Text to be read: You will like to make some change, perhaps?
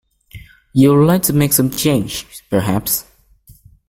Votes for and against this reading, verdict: 2, 0, accepted